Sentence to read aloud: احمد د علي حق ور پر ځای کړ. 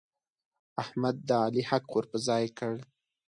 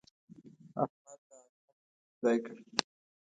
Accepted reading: first